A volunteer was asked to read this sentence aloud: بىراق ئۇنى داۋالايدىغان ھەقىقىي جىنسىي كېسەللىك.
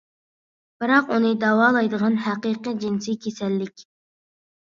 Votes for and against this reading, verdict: 2, 0, accepted